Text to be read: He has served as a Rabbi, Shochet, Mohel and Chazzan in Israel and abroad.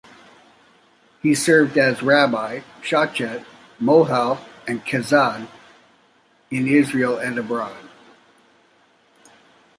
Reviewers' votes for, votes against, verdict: 2, 0, accepted